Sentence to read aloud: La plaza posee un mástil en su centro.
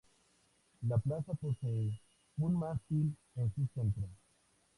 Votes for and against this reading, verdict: 2, 0, accepted